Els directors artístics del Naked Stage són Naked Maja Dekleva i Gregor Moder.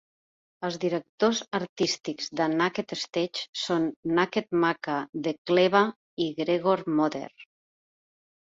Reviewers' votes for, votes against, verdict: 0, 3, rejected